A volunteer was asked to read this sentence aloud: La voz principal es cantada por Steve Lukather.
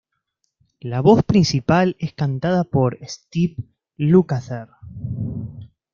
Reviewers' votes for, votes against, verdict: 2, 0, accepted